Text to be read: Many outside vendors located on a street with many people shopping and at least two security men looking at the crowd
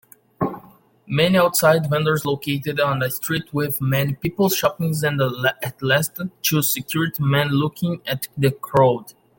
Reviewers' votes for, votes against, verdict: 0, 2, rejected